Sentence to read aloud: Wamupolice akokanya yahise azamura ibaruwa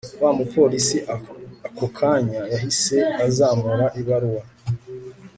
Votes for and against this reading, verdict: 2, 0, accepted